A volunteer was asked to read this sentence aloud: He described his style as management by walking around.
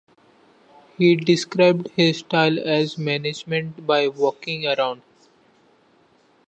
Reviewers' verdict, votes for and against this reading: accepted, 2, 0